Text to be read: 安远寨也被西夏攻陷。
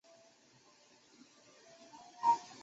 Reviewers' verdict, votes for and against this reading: rejected, 1, 2